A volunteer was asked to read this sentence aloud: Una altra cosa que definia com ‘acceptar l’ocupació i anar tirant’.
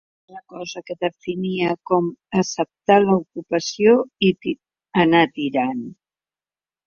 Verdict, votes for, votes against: rejected, 0, 2